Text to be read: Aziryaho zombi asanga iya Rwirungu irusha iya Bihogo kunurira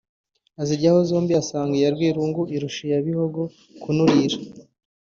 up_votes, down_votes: 2, 0